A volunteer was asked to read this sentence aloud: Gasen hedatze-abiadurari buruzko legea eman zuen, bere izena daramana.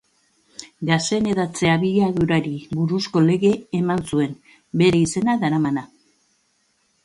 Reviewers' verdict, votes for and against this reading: rejected, 0, 3